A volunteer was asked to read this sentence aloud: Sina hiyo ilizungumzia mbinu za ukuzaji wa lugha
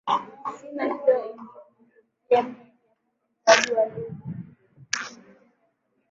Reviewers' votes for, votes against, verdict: 0, 3, rejected